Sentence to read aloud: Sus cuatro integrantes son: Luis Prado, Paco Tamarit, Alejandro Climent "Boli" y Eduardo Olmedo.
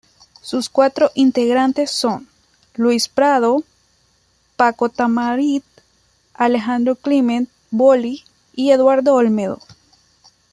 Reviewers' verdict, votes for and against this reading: accepted, 2, 1